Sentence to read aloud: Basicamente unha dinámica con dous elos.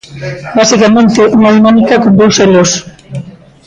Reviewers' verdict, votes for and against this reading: rejected, 0, 2